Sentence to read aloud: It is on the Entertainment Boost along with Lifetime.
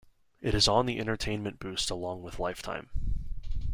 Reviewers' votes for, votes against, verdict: 2, 0, accepted